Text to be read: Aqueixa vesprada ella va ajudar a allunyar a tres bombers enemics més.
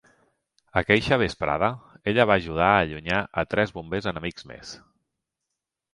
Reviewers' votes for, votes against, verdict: 2, 0, accepted